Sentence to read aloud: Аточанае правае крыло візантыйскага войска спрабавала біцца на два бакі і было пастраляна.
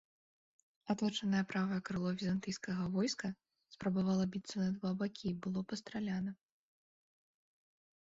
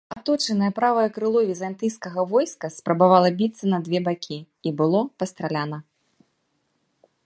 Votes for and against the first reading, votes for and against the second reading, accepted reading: 2, 0, 0, 3, first